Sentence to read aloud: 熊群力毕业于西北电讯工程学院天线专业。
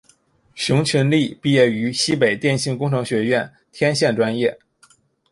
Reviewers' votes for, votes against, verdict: 2, 1, accepted